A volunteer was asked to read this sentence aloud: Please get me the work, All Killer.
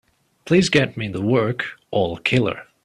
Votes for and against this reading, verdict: 2, 0, accepted